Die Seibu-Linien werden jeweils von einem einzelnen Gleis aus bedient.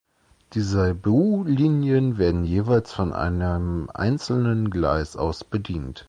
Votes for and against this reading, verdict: 2, 0, accepted